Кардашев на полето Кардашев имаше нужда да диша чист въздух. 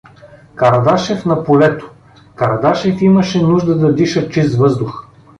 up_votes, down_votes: 2, 0